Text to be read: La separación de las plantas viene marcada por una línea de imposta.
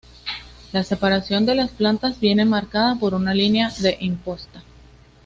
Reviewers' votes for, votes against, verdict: 2, 0, accepted